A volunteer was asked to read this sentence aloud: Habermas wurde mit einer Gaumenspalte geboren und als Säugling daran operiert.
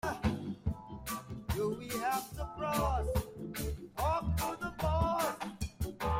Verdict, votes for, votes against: rejected, 0, 2